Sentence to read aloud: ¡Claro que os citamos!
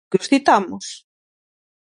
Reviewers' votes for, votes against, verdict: 0, 6, rejected